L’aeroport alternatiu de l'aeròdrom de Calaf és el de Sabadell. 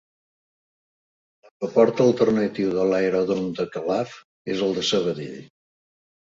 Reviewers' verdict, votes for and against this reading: rejected, 2, 3